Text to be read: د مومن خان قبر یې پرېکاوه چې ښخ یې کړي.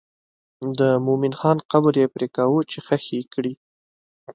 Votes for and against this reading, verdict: 2, 0, accepted